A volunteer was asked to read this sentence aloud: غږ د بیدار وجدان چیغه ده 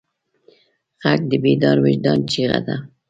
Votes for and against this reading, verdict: 2, 0, accepted